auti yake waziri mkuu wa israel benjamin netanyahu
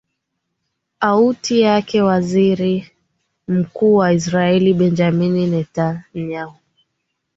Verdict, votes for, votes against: accepted, 2, 1